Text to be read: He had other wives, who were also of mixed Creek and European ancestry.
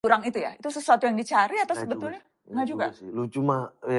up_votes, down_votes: 0, 2